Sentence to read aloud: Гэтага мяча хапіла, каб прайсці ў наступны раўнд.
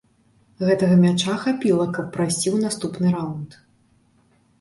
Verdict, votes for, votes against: accepted, 2, 0